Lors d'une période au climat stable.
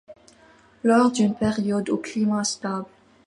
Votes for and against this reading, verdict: 2, 0, accepted